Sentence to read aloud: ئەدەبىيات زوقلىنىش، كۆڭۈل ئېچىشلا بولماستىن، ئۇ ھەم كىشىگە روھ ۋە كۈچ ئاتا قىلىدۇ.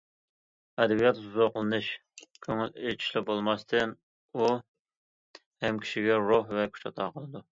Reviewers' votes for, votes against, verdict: 2, 0, accepted